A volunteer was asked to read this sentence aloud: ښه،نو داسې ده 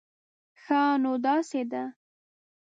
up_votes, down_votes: 2, 0